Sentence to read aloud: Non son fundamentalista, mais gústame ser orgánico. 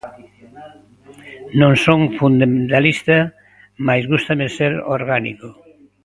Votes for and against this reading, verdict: 0, 2, rejected